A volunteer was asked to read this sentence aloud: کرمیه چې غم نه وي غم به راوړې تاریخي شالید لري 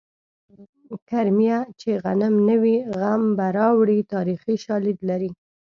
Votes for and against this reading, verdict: 1, 2, rejected